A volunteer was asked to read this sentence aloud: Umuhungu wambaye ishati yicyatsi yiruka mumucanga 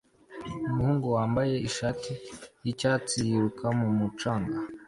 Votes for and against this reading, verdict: 2, 0, accepted